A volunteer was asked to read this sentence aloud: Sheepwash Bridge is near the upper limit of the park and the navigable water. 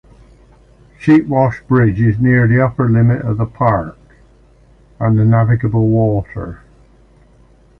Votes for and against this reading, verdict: 2, 0, accepted